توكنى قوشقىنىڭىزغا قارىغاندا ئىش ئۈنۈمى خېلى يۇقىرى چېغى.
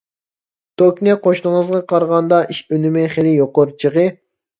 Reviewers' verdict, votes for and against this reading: rejected, 1, 2